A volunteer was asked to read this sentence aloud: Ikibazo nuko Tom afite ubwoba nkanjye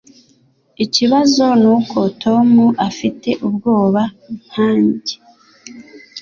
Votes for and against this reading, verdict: 3, 0, accepted